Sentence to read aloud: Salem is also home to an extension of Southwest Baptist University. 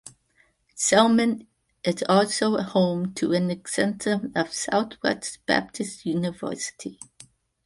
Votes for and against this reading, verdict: 1, 2, rejected